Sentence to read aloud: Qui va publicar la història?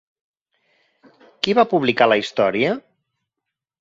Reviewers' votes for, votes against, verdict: 4, 0, accepted